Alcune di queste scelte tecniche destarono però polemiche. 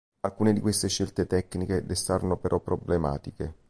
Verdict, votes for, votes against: rejected, 0, 3